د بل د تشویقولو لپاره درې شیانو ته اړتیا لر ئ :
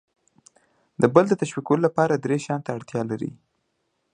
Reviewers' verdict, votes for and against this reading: accepted, 2, 1